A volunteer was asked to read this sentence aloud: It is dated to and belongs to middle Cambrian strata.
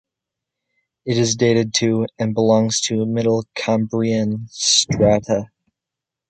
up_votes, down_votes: 2, 0